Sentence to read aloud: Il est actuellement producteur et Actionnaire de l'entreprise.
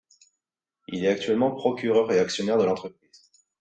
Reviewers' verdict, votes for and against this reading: rejected, 0, 2